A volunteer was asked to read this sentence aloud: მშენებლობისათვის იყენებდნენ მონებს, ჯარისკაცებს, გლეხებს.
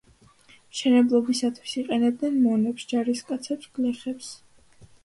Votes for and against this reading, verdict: 2, 0, accepted